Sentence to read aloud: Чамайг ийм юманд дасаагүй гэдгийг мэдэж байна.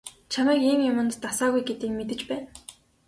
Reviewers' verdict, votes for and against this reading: accepted, 3, 0